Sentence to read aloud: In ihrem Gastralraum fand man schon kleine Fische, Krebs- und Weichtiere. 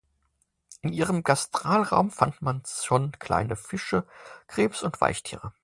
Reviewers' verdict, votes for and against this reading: rejected, 0, 2